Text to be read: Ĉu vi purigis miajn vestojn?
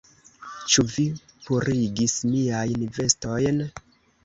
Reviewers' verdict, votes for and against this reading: accepted, 2, 0